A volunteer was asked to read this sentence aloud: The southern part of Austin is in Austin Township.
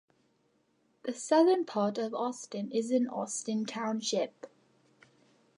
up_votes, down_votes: 2, 0